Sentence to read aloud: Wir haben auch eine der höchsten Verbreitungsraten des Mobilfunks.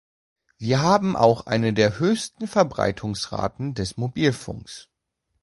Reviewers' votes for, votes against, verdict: 2, 0, accepted